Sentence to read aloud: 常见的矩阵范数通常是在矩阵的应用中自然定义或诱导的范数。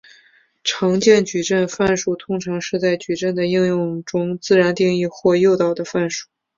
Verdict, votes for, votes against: accepted, 2, 0